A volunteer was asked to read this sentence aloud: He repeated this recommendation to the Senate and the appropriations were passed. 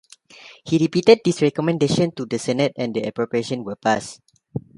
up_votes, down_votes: 0, 2